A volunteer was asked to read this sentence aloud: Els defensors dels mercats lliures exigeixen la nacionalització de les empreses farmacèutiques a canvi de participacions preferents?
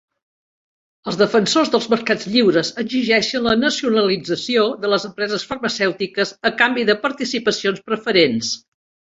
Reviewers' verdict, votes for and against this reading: rejected, 0, 3